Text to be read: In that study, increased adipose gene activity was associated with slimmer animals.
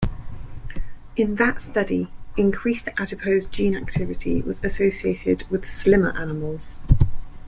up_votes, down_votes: 2, 0